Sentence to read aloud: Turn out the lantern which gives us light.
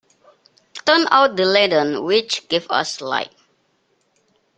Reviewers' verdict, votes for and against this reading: rejected, 1, 2